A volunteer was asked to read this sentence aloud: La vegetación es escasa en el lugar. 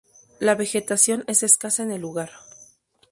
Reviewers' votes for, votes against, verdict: 2, 0, accepted